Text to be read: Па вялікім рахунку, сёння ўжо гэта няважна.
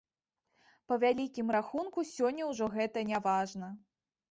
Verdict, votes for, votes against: accepted, 2, 0